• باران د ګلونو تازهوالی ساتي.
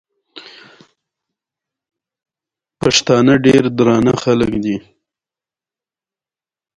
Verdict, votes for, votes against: accepted, 2, 0